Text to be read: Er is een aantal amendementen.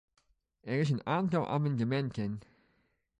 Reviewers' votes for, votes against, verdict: 0, 2, rejected